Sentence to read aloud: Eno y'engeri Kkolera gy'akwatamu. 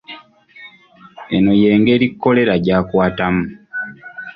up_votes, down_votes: 2, 0